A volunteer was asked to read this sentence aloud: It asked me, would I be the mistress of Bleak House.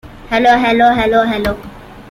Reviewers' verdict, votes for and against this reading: rejected, 0, 2